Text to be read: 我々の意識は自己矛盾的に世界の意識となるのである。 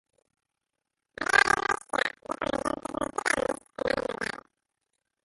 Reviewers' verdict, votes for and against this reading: rejected, 0, 4